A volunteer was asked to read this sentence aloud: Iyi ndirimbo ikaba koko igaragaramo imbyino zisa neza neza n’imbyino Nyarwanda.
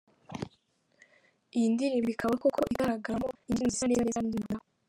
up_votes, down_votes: 0, 3